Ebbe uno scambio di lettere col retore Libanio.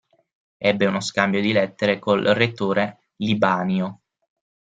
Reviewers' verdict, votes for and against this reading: rejected, 3, 9